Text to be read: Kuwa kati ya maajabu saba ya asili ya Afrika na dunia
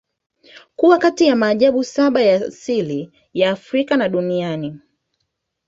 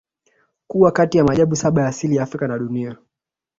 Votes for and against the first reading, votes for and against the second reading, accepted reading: 3, 0, 0, 2, first